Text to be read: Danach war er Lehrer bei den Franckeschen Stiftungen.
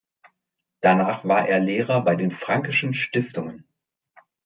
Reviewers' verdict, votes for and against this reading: accepted, 2, 0